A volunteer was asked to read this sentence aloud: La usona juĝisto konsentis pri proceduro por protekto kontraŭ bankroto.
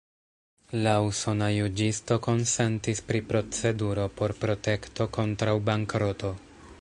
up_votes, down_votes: 2, 0